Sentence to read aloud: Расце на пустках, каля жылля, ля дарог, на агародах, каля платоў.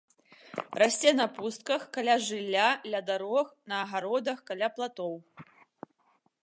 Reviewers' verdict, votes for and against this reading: accepted, 2, 0